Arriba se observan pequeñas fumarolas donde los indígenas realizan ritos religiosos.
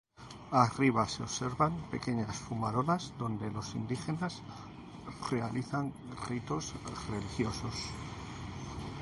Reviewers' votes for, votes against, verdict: 0, 2, rejected